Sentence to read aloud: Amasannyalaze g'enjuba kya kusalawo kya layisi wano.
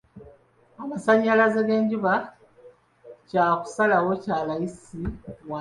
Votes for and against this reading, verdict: 0, 2, rejected